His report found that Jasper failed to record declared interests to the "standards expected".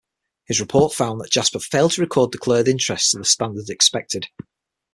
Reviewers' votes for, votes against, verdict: 3, 6, rejected